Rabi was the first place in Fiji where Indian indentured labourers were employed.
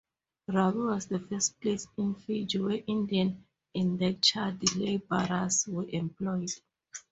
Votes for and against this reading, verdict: 2, 0, accepted